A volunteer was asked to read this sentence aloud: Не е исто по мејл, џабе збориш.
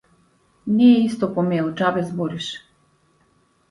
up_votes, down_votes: 2, 0